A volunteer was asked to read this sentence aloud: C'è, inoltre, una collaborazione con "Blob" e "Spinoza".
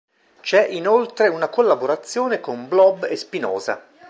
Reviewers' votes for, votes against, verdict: 2, 0, accepted